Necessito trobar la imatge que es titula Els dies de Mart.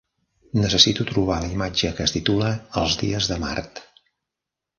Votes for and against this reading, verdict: 3, 0, accepted